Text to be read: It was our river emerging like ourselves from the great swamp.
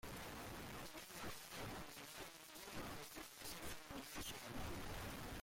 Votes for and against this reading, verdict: 0, 2, rejected